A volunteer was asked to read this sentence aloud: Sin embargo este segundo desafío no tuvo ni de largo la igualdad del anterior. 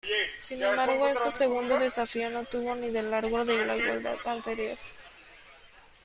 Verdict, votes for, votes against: rejected, 0, 2